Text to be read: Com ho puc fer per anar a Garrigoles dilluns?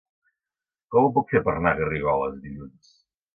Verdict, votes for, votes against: rejected, 1, 2